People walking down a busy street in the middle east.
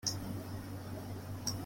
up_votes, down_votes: 0, 2